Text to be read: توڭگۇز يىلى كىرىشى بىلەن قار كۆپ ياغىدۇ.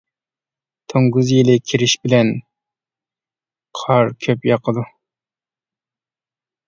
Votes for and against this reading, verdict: 0, 2, rejected